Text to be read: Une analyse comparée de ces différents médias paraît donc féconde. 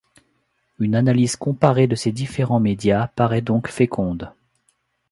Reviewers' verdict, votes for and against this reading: accepted, 2, 0